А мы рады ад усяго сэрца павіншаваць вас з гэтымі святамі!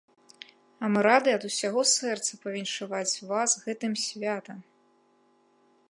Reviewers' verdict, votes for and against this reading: rejected, 1, 2